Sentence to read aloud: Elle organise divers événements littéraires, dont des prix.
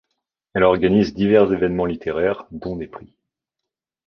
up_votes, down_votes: 3, 0